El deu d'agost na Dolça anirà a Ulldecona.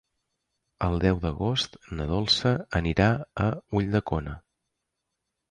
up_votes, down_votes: 3, 0